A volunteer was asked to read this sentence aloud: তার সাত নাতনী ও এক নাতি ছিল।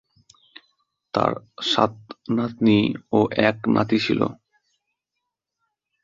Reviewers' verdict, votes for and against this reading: accepted, 2, 0